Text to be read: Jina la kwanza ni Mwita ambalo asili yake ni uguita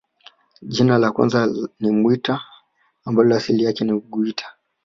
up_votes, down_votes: 1, 3